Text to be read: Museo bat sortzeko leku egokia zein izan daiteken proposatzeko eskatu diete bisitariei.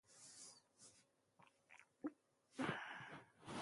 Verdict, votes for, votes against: rejected, 0, 2